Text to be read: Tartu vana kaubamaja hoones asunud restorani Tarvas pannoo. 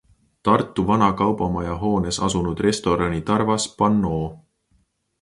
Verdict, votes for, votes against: accepted, 2, 0